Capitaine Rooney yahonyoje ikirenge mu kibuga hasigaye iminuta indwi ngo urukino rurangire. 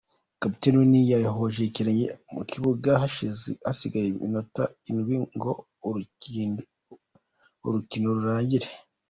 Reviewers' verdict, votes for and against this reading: rejected, 0, 2